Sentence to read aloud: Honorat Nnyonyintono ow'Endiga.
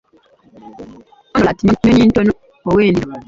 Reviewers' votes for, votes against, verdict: 0, 2, rejected